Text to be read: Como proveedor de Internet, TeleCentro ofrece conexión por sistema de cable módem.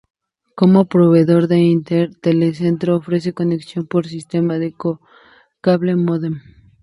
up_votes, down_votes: 0, 2